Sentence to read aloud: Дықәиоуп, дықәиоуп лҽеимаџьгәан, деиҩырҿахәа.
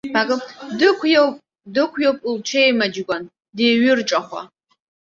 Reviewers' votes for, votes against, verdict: 0, 2, rejected